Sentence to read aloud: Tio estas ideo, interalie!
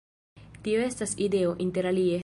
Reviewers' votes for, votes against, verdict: 2, 1, accepted